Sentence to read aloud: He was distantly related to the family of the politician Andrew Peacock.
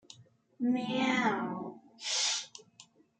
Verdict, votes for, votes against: rejected, 0, 2